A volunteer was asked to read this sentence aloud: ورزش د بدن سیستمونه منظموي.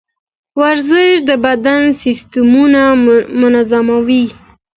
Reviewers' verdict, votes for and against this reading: accepted, 2, 0